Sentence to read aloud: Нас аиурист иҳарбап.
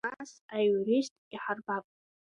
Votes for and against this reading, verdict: 2, 0, accepted